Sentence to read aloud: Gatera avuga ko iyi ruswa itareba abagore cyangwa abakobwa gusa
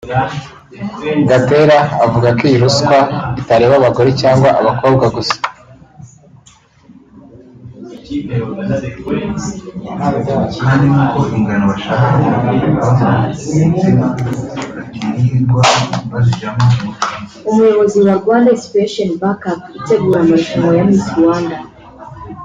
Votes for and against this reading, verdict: 1, 2, rejected